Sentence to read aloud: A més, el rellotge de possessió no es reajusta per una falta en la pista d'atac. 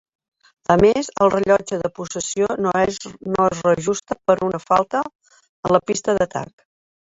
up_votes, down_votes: 0, 2